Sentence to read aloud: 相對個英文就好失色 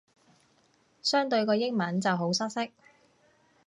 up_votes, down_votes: 2, 0